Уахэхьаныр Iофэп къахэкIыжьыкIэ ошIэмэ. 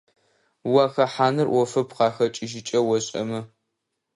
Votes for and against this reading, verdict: 2, 0, accepted